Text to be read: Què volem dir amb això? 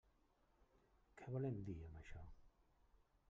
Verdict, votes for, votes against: rejected, 1, 2